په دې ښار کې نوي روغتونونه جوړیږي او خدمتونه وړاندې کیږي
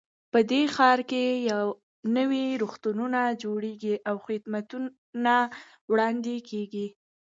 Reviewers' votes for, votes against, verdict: 1, 2, rejected